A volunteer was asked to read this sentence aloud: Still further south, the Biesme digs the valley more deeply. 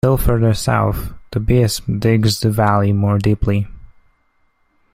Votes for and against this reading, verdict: 2, 0, accepted